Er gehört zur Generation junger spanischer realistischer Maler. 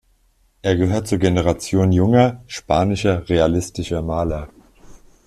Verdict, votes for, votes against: accepted, 2, 0